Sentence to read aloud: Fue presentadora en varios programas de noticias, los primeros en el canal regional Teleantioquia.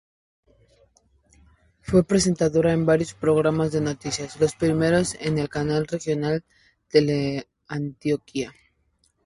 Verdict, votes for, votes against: accepted, 4, 0